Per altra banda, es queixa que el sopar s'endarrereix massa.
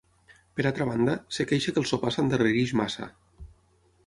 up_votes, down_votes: 3, 6